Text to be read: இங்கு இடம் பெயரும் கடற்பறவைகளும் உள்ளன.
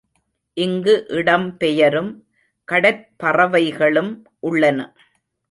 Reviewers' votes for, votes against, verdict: 2, 0, accepted